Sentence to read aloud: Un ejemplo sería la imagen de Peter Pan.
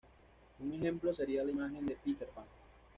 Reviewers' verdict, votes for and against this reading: accepted, 2, 0